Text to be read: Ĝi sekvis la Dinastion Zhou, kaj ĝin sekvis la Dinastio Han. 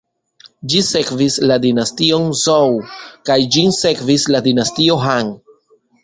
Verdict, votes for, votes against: accepted, 2, 0